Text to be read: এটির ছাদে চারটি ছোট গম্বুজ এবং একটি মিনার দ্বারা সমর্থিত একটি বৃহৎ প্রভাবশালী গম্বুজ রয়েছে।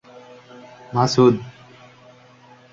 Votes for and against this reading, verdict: 0, 2, rejected